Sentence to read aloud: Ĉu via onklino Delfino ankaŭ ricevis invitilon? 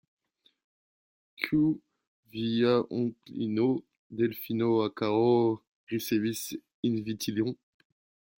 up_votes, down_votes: 1, 2